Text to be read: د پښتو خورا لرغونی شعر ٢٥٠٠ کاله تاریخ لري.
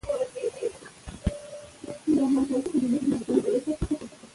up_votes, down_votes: 0, 2